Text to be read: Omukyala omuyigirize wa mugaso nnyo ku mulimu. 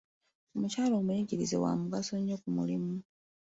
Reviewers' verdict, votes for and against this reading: accepted, 2, 0